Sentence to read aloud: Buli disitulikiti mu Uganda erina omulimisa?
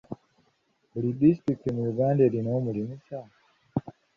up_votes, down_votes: 2, 1